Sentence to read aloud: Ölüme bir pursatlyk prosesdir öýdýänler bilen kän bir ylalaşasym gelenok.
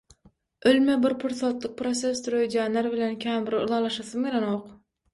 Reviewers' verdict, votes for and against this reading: accepted, 6, 0